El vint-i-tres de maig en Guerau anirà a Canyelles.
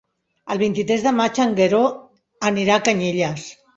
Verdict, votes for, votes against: rejected, 1, 2